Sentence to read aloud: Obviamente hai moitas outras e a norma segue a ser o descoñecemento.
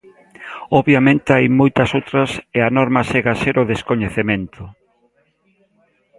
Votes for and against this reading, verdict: 2, 1, accepted